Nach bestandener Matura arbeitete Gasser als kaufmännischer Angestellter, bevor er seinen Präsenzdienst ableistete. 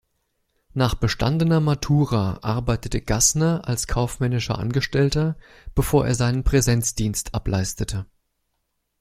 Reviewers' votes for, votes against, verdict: 1, 2, rejected